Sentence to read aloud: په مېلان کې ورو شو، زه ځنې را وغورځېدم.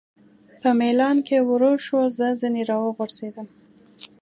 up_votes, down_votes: 2, 0